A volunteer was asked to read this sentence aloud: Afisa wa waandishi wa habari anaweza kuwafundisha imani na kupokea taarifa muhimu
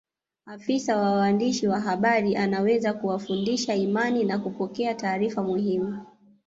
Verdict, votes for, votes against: accepted, 2, 0